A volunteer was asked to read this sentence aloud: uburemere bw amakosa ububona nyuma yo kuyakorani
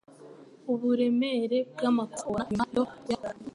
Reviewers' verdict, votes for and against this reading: rejected, 0, 2